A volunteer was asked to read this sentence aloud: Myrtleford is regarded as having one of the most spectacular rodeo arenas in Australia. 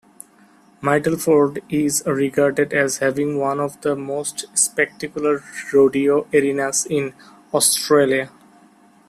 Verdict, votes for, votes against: accepted, 2, 1